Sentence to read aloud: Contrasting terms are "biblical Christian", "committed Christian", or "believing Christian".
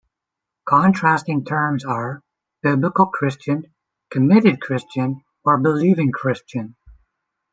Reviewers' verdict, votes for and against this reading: accepted, 2, 0